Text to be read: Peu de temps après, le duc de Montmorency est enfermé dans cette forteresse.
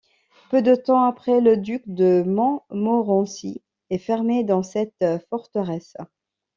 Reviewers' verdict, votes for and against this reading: rejected, 1, 2